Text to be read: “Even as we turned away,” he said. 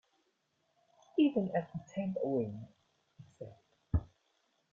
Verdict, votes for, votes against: rejected, 1, 2